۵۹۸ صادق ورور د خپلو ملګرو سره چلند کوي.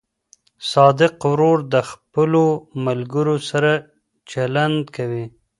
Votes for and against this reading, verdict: 0, 2, rejected